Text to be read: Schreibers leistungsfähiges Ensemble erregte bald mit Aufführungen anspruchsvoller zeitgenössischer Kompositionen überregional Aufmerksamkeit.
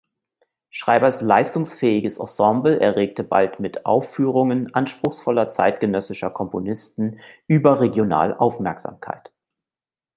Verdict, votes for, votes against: rejected, 0, 2